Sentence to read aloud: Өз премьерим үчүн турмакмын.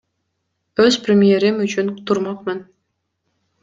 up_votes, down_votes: 2, 0